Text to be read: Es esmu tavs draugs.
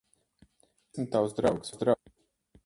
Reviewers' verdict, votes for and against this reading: rejected, 0, 4